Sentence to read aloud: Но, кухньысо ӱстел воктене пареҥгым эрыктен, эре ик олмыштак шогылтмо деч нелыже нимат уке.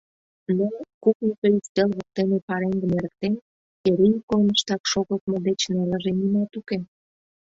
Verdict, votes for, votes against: rejected, 0, 2